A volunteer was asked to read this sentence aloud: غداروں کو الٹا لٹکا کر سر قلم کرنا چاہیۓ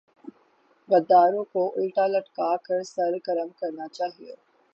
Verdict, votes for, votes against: accepted, 6, 0